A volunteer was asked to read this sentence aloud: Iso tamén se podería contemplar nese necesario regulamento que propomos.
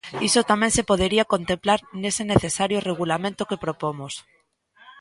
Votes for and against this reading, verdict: 2, 0, accepted